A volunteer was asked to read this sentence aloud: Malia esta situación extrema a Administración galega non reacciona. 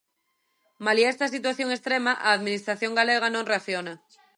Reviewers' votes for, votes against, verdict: 2, 0, accepted